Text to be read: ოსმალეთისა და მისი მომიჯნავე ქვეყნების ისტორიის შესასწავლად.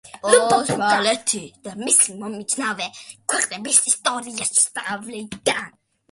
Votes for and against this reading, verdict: 1, 2, rejected